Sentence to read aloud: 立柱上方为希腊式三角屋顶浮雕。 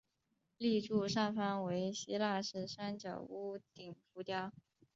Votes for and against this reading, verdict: 1, 2, rejected